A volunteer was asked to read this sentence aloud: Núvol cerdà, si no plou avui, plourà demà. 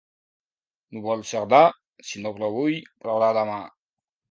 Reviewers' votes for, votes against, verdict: 1, 2, rejected